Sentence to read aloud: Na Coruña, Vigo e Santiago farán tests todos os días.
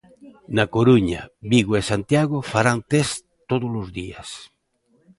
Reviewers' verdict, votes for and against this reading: accepted, 2, 0